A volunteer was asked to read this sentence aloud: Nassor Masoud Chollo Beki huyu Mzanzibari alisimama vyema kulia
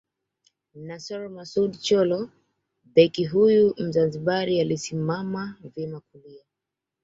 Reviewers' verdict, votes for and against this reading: accepted, 2, 0